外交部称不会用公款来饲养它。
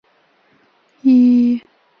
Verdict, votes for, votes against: rejected, 0, 3